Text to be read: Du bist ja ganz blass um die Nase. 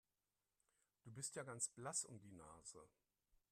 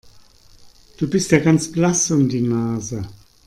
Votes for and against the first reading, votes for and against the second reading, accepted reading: 1, 2, 2, 0, second